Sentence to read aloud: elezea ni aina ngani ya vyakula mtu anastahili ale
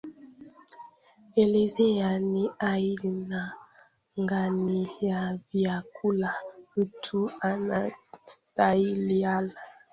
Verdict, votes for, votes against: rejected, 1, 2